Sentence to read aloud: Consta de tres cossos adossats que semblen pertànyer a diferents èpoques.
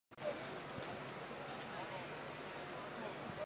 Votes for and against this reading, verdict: 0, 2, rejected